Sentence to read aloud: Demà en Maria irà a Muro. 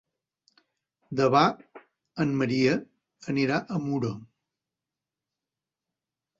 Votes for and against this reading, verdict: 1, 2, rejected